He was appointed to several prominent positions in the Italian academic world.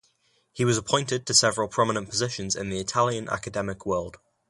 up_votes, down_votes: 2, 0